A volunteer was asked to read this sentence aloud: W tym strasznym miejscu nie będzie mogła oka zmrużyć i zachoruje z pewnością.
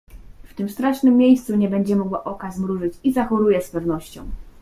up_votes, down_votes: 1, 2